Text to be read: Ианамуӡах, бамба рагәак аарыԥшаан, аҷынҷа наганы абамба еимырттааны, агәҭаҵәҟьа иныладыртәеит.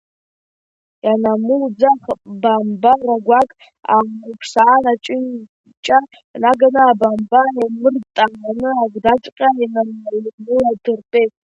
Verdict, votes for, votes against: rejected, 0, 3